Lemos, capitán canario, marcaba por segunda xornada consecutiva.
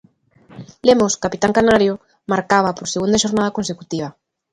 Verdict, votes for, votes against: accepted, 2, 0